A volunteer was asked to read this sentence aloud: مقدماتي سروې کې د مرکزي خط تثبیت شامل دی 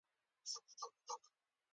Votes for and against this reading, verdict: 0, 2, rejected